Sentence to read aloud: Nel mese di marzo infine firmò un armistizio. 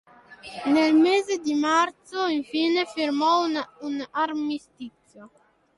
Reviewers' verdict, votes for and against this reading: rejected, 1, 3